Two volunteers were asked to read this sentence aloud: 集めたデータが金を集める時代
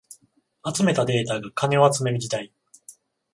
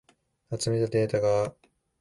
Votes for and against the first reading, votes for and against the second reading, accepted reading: 14, 0, 0, 2, first